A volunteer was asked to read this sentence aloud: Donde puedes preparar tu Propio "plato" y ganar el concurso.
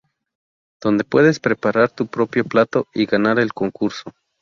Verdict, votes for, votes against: accepted, 2, 0